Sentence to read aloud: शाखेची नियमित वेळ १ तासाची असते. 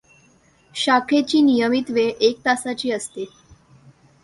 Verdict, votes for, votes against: rejected, 0, 2